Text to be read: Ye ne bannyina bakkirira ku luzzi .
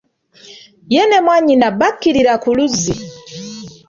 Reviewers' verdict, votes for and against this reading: rejected, 1, 2